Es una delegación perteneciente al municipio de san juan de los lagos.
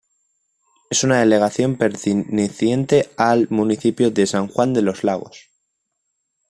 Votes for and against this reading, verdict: 2, 1, accepted